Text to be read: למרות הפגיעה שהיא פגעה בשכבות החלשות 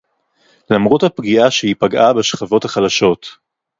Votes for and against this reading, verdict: 4, 0, accepted